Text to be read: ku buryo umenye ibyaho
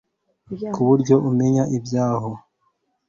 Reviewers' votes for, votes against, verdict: 1, 2, rejected